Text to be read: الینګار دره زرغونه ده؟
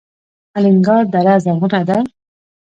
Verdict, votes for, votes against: accepted, 2, 0